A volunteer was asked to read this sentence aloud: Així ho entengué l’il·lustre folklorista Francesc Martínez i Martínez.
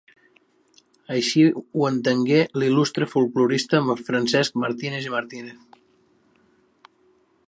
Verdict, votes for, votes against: rejected, 1, 2